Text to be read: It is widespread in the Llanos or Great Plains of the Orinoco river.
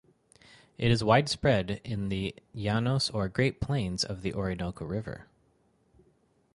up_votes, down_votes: 4, 0